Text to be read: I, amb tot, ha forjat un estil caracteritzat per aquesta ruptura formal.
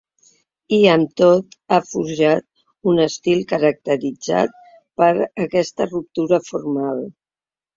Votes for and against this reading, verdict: 2, 0, accepted